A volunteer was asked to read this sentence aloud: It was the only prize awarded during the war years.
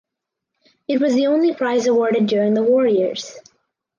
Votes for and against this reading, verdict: 4, 0, accepted